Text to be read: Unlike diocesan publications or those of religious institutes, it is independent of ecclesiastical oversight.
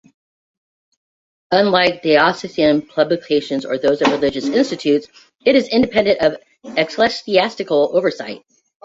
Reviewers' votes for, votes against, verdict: 2, 0, accepted